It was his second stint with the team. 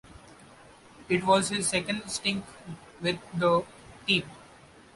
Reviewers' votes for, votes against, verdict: 1, 2, rejected